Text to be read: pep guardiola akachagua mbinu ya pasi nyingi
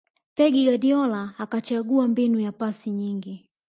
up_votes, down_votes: 1, 2